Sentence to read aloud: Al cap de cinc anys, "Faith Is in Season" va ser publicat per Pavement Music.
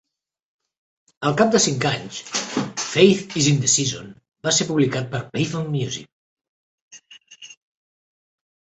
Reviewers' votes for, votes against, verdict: 2, 1, accepted